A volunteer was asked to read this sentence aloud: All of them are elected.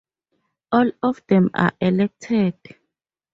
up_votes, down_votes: 2, 0